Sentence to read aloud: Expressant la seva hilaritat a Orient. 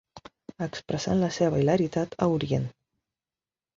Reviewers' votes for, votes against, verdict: 4, 0, accepted